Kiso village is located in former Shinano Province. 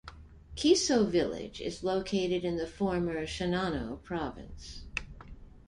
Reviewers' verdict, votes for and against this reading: rejected, 0, 2